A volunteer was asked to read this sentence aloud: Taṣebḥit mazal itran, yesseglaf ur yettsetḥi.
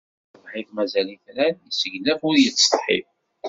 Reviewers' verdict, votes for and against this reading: rejected, 0, 2